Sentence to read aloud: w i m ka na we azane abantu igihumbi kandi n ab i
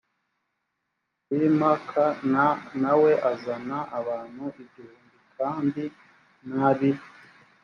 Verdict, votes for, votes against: rejected, 2, 3